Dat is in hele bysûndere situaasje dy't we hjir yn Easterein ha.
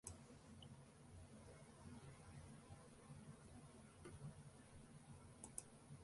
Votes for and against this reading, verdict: 1, 2, rejected